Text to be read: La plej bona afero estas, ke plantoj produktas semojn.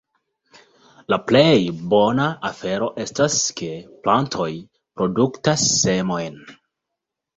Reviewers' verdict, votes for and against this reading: accepted, 2, 0